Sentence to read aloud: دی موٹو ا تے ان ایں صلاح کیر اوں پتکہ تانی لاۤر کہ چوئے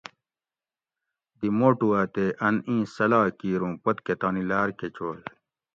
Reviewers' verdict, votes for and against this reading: accepted, 2, 0